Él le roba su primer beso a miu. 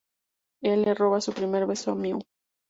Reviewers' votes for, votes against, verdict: 2, 0, accepted